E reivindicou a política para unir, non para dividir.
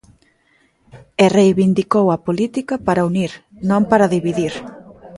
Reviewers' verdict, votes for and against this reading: accepted, 2, 0